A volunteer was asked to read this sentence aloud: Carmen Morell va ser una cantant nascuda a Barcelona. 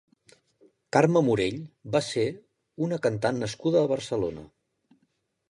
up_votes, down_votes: 1, 2